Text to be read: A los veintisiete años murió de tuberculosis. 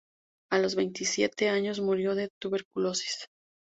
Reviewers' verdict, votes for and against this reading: accepted, 2, 0